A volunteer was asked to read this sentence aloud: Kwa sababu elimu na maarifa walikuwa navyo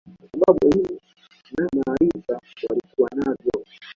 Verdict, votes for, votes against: rejected, 0, 2